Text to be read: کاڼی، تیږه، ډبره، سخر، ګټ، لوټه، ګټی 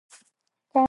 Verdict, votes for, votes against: rejected, 0, 2